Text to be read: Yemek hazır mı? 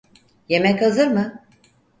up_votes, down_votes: 4, 0